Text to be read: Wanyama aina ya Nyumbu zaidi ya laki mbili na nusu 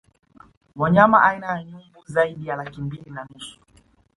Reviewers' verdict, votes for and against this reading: accepted, 2, 0